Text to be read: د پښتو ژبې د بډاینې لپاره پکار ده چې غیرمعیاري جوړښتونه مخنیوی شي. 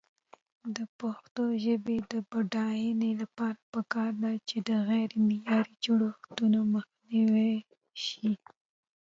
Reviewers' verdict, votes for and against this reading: rejected, 0, 2